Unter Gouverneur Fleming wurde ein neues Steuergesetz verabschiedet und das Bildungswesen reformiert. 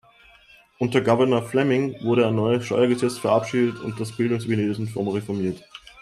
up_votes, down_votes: 0, 2